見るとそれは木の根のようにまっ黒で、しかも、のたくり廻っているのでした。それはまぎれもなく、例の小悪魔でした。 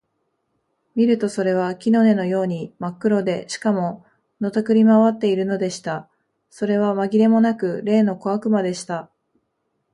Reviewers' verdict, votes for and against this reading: accepted, 2, 0